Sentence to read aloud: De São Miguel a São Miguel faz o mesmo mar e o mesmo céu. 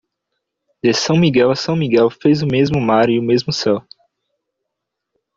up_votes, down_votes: 0, 2